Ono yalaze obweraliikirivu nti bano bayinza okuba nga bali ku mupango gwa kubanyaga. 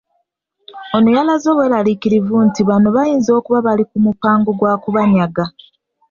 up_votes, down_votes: 0, 2